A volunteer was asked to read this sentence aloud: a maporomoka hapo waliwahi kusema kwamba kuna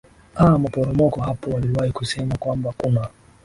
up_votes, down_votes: 0, 2